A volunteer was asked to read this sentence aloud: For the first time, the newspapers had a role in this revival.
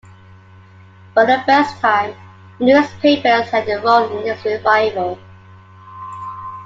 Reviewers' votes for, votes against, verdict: 2, 1, accepted